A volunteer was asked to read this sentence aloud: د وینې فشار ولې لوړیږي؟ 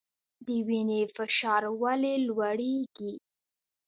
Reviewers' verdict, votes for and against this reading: accepted, 2, 0